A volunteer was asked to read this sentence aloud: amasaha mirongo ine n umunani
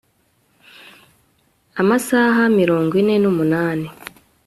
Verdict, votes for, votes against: accepted, 2, 0